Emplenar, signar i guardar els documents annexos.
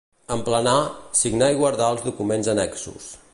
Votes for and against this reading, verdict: 2, 1, accepted